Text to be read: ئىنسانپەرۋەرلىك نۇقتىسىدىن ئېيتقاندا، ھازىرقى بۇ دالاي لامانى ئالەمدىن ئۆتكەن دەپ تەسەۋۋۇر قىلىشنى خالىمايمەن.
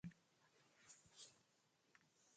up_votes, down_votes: 0, 2